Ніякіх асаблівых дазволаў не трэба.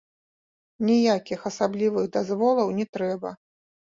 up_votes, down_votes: 2, 0